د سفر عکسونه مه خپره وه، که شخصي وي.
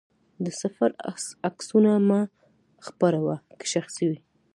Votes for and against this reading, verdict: 2, 0, accepted